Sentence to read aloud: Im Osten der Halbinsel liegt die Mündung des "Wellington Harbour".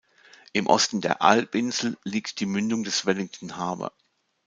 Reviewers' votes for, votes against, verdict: 0, 2, rejected